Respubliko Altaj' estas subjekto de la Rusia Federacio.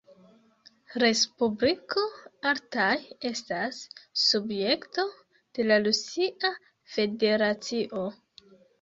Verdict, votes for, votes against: rejected, 1, 2